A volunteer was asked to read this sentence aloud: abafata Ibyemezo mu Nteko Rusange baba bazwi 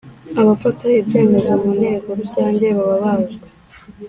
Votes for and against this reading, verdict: 3, 0, accepted